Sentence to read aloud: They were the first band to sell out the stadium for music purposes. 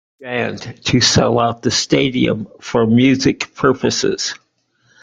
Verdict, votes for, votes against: rejected, 1, 2